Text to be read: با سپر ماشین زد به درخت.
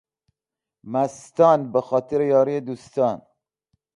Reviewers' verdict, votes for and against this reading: rejected, 0, 2